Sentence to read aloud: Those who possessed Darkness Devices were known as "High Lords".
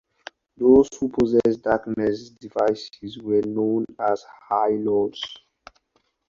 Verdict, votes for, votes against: rejected, 0, 4